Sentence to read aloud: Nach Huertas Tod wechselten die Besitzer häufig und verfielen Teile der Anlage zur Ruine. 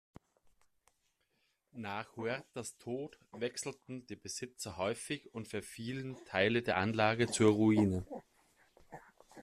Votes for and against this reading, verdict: 2, 1, accepted